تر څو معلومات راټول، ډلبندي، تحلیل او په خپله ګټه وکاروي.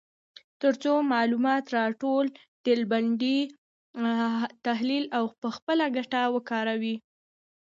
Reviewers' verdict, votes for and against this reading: accepted, 2, 0